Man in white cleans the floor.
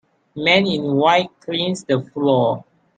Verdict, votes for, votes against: accepted, 2, 0